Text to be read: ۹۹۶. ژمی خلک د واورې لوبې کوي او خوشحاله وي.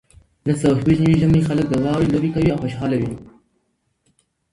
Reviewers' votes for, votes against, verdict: 0, 2, rejected